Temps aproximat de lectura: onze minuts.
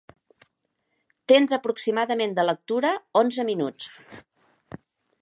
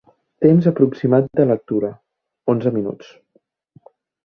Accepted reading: second